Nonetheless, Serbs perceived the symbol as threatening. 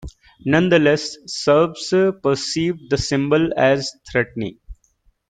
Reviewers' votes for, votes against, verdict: 1, 2, rejected